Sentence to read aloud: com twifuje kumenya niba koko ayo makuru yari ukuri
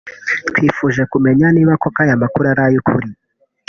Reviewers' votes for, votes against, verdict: 0, 2, rejected